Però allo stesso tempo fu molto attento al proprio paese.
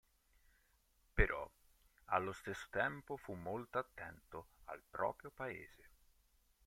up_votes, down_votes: 2, 0